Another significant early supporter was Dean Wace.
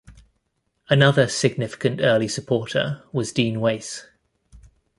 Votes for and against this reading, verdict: 2, 0, accepted